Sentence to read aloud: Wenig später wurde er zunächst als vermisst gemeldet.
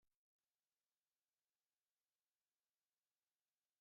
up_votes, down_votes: 0, 2